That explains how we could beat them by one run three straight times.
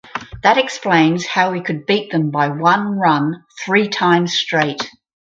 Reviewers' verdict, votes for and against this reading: rejected, 2, 4